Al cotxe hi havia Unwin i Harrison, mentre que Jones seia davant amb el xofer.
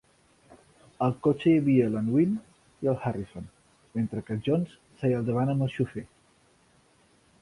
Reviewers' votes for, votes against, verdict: 2, 3, rejected